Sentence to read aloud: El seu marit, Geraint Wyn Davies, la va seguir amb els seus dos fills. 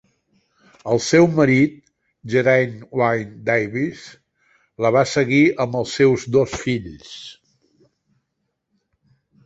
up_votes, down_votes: 2, 0